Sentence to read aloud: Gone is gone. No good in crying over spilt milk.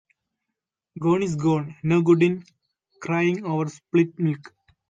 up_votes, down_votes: 0, 2